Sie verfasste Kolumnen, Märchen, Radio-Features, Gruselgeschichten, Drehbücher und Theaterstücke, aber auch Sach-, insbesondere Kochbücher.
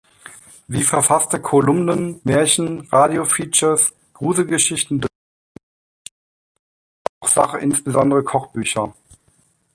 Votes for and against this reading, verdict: 0, 2, rejected